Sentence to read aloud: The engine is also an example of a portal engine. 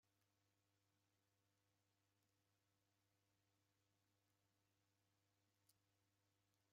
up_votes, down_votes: 0, 2